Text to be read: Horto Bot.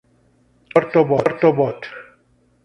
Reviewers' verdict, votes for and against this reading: rejected, 0, 2